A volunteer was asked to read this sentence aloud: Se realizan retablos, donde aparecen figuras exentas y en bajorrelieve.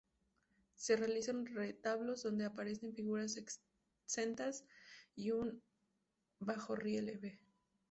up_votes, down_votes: 2, 0